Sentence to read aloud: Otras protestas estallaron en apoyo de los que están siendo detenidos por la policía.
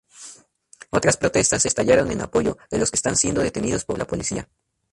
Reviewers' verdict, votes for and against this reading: rejected, 2, 2